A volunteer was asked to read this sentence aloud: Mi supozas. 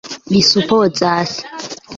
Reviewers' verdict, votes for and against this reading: accepted, 2, 0